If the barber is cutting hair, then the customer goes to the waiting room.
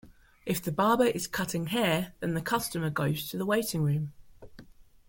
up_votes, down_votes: 2, 0